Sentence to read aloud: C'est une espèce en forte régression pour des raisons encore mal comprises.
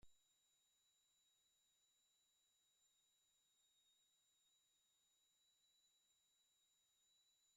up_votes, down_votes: 0, 2